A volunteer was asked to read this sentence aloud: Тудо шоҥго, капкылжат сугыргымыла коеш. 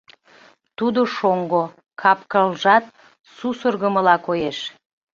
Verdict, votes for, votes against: rejected, 1, 2